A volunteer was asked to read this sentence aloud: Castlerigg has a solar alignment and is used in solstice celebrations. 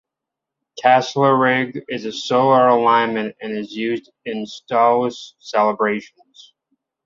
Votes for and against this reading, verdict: 0, 2, rejected